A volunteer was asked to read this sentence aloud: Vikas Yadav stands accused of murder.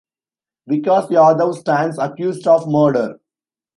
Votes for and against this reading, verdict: 2, 0, accepted